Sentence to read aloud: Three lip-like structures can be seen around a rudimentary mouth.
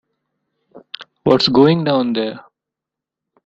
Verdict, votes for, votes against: rejected, 0, 2